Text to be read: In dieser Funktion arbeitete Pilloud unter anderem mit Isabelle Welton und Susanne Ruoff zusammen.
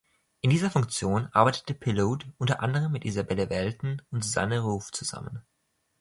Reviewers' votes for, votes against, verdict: 2, 0, accepted